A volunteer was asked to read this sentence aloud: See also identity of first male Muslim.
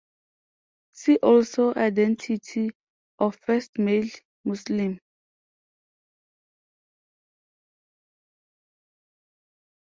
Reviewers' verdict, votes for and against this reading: accepted, 2, 0